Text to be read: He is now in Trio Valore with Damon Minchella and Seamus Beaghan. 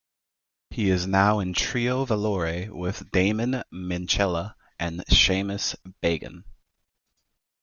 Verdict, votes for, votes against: accepted, 2, 1